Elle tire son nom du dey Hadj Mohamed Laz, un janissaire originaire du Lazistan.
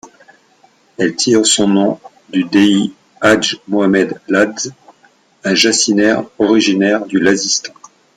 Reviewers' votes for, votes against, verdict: 0, 2, rejected